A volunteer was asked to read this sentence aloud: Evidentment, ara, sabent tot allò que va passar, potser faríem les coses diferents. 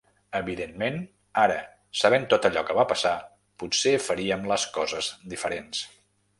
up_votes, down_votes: 2, 0